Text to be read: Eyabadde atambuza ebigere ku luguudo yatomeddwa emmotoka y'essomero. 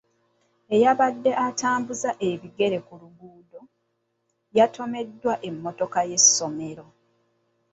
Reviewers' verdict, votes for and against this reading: rejected, 1, 2